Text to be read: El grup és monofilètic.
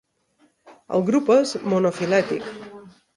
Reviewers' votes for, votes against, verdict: 1, 2, rejected